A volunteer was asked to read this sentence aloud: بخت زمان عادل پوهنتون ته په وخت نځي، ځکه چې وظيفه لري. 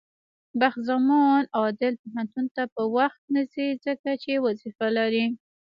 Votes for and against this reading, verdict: 1, 2, rejected